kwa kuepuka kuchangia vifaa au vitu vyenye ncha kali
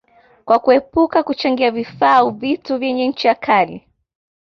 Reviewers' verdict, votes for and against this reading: accepted, 2, 0